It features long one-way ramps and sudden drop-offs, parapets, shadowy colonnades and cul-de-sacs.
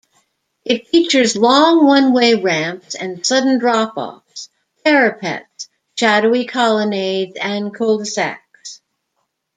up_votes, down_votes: 2, 0